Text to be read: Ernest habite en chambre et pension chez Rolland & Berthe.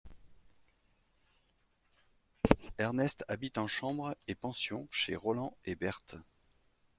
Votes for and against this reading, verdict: 2, 0, accepted